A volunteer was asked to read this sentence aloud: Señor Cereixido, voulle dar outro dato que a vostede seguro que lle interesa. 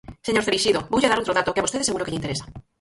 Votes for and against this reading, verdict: 0, 4, rejected